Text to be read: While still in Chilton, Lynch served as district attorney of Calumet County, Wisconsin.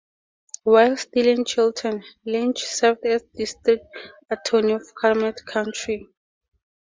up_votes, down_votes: 0, 4